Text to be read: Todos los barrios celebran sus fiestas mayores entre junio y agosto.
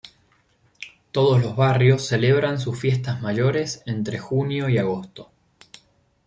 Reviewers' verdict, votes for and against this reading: accepted, 2, 0